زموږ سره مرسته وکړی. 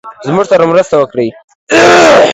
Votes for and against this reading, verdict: 2, 1, accepted